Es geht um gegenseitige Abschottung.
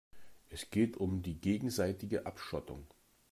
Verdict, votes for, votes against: rejected, 1, 2